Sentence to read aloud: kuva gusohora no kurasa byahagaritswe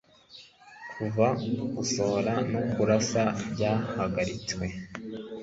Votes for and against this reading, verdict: 2, 0, accepted